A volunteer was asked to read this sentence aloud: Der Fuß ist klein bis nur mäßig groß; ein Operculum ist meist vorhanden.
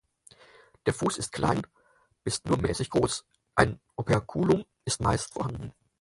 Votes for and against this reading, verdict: 4, 0, accepted